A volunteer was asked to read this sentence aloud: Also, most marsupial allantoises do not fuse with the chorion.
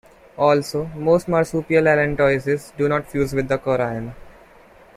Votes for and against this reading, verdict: 1, 2, rejected